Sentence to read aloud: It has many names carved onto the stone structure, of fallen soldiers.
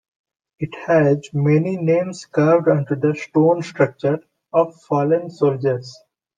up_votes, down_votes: 2, 0